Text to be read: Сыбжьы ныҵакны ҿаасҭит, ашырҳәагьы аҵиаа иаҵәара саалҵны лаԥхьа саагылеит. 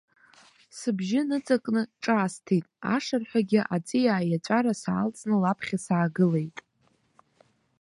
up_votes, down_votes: 2, 0